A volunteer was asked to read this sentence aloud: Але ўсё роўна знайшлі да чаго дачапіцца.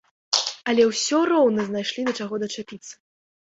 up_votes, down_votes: 2, 0